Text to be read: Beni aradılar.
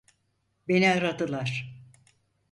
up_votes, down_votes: 4, 0